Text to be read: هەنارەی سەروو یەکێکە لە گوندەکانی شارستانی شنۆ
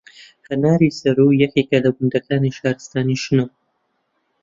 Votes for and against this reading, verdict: 0, 2, rejected